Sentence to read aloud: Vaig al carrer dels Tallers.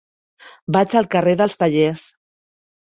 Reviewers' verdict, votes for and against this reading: accepted, 3, 0